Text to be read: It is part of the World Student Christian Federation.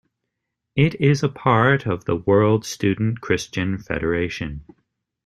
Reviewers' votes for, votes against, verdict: 2, 3, rejected